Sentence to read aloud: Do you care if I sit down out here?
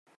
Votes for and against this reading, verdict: 0, 2, rejected